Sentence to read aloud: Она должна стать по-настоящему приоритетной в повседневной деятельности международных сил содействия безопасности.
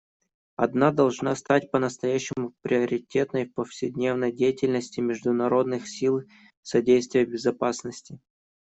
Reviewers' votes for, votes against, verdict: 1, 2, rejected